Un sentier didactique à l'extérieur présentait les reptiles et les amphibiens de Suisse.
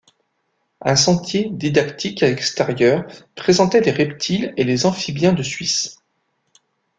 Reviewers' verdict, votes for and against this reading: rejected, 0, 2